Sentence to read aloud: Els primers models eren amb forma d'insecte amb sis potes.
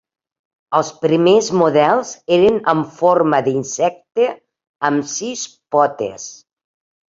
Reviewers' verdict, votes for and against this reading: accepted, 2, 0